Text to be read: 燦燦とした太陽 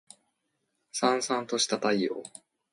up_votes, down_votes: 2, 0